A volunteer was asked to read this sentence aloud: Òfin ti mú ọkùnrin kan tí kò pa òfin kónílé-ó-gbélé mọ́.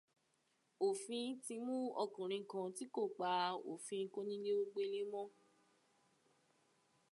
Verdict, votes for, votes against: accepted, 2, 0